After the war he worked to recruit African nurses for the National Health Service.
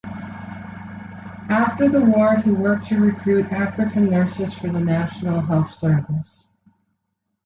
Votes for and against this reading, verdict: 2, 0, accepted